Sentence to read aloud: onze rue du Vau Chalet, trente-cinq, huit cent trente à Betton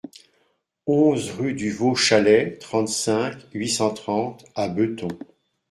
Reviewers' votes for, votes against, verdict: 0, 2, rejected